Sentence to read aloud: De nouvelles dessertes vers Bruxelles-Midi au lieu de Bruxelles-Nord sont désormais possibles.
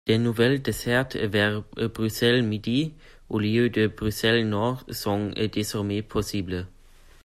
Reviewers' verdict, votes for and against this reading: rejected, 1, 2